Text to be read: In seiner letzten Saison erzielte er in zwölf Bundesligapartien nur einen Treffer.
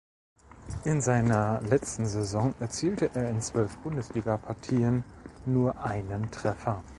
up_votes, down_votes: 1, 2